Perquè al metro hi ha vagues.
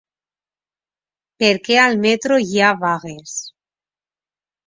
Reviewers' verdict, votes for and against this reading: accepted, 3, 0